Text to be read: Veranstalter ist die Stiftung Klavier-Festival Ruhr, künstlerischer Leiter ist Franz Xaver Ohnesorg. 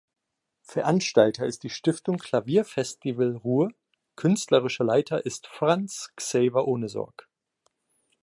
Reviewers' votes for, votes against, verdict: 1, 2, rejected